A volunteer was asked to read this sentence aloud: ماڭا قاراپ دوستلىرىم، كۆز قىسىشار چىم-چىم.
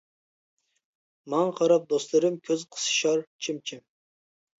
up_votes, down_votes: 2, 0